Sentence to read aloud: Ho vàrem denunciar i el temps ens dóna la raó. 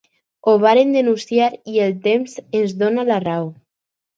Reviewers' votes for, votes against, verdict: 4, 0, accepted